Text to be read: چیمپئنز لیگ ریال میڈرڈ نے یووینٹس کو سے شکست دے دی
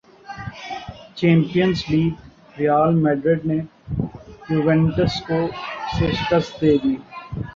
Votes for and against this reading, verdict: 1, 4, rejected